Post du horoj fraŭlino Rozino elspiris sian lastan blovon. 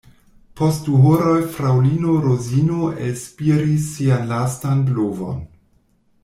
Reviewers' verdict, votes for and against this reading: accepted, 2, 0